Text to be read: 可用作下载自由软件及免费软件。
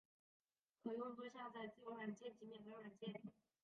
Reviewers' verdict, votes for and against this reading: rejected, 0, 2